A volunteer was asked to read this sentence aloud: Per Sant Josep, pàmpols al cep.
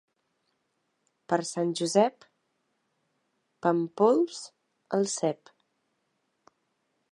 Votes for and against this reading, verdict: 2, 0, accepted